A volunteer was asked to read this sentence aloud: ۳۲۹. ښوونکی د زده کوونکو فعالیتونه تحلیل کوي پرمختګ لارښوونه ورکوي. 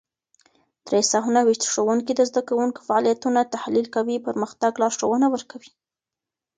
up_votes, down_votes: 0, 2